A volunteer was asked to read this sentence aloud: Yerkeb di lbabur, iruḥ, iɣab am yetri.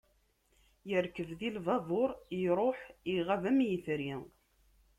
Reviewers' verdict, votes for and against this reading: accepted, 2, 0